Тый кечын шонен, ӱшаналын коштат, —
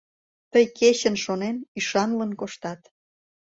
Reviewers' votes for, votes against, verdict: 1, 2, rejected